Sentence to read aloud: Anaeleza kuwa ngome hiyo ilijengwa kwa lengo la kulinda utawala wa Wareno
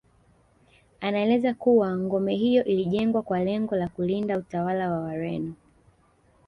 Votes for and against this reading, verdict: 0, 2, rejected